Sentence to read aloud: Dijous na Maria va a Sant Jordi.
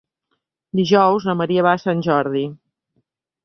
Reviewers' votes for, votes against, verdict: 3, 0, accepted